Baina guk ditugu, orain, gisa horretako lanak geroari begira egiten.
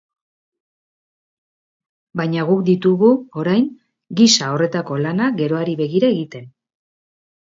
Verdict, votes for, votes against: accepted, 2, 0